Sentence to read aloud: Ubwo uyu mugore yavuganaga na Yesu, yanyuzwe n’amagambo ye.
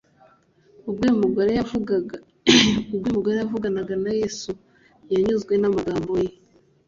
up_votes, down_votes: 0, 3